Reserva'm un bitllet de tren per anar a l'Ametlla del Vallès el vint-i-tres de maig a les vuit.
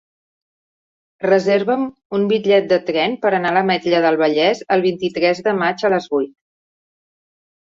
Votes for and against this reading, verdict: 2, 0, accepted